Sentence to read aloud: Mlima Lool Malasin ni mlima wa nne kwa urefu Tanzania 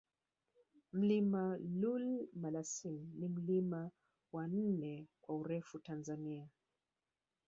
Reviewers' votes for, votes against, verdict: 1, 2, rejected